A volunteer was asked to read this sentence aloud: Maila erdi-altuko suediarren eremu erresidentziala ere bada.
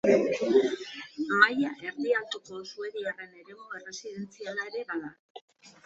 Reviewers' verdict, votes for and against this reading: accepted, 2, 0